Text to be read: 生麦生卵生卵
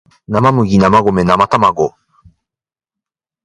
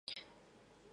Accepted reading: first